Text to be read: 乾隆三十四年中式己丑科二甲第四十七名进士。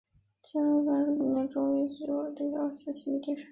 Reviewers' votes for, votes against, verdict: 0, 2, rejected